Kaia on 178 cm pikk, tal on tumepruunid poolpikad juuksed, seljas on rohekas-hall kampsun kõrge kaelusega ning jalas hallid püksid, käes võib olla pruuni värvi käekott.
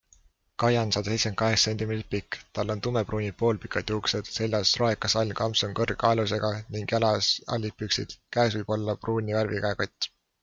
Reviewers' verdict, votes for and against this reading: rejected, 0, 2